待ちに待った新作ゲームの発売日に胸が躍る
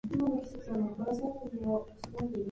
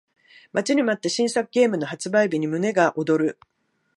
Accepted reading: second